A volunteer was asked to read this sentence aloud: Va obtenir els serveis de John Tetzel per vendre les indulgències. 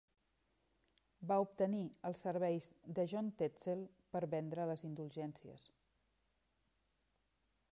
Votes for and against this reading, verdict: 3, 0, accepted